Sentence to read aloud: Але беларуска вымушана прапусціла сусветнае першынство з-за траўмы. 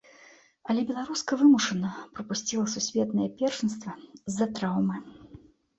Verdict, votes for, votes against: rejected, 1, 2